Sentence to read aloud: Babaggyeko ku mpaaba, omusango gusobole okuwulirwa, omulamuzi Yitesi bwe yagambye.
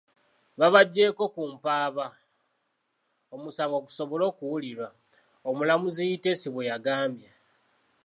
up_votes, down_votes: 1, 2